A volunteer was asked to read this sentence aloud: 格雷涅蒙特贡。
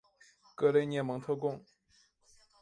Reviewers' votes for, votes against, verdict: 3, 1, accepted